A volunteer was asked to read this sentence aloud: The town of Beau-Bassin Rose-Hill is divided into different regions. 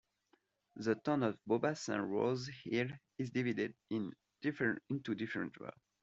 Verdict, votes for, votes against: rejected, 0, 2